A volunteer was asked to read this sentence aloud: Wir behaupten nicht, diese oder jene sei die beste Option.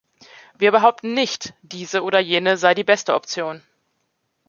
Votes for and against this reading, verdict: 2, 0, accepted